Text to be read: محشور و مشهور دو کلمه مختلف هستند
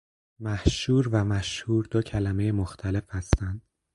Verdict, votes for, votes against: accepted, 4, 0